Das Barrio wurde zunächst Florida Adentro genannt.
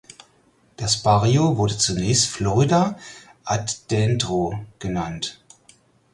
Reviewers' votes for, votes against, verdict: 2, 4, rejected